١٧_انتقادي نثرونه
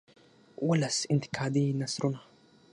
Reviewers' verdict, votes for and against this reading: rejected, 0, 2